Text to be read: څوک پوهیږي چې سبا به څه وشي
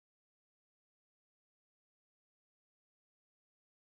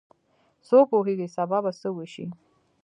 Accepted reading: second